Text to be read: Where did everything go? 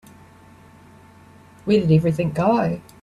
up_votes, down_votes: 3, 0